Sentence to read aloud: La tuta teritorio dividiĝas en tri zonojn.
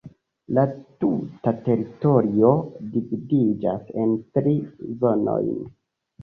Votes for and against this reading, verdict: 2, 1, accepted